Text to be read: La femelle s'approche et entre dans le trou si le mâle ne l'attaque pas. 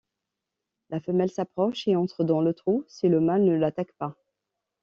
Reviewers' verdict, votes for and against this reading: accepted, 2, 0